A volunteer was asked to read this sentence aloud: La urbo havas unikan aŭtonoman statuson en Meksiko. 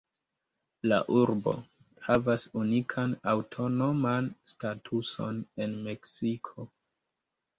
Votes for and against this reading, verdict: 2, 1, accepted